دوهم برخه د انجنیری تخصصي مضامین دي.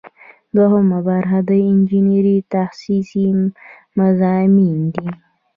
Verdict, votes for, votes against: accepted, 2, 1